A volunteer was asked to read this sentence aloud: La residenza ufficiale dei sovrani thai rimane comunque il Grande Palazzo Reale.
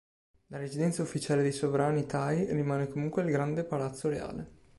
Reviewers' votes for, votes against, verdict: 2, 0, accepted